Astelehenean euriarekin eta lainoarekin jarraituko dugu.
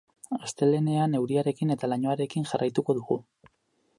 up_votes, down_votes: 4, 0